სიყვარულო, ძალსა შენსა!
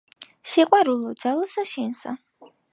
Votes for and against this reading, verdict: 3, 1, accepted